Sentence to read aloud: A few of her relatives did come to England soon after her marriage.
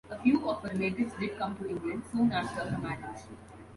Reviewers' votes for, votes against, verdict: 1, 2, rejected